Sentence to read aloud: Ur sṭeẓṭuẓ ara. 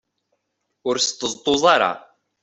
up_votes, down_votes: 2, 0